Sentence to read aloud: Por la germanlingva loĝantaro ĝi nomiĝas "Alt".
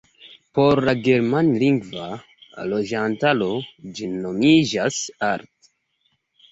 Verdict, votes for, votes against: accepted, 2, 0